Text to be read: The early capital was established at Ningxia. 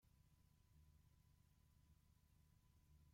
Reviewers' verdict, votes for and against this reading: rejected, 0, 2